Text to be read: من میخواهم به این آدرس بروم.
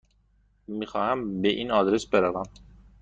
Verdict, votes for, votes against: rejected, 1, 2